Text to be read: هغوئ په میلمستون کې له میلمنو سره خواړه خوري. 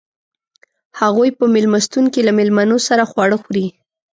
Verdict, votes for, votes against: accepted, 2, 0